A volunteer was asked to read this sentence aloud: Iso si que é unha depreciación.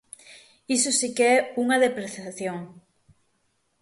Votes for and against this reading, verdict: 6, 0, accepted